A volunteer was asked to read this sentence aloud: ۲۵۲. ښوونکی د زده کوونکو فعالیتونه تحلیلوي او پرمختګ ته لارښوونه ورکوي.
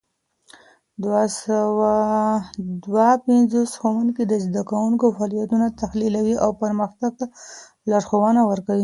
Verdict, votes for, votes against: rejected, 0, 2